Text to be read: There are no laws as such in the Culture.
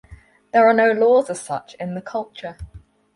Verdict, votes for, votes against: accepted, 4, 0